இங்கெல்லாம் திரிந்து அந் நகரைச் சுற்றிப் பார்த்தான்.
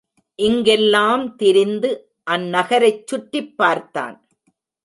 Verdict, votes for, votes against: accepted, 3, 0